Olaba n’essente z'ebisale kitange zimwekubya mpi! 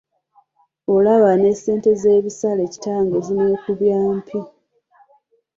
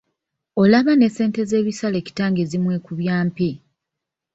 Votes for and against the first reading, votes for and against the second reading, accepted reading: 2, 0, 1, 2, first